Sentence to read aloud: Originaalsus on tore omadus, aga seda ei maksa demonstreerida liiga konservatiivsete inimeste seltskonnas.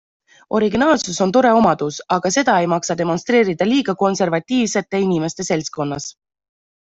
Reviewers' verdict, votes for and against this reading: accepted, 2, 0